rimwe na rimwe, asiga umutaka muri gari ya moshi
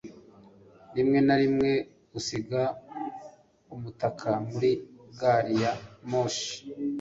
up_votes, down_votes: 1, 2